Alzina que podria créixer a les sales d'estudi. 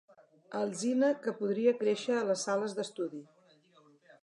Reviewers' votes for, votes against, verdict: 4, 0, accepted